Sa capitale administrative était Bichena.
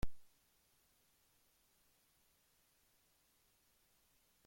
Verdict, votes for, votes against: rejected, 0, 2